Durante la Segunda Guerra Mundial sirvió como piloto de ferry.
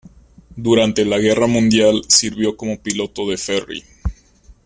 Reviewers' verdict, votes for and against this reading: rejected, 0, 2